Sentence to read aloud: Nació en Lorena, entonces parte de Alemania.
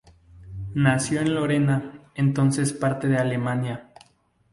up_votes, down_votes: 2, 2